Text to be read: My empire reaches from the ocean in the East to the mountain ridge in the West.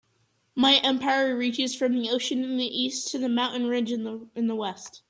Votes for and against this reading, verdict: 0, 2, rejected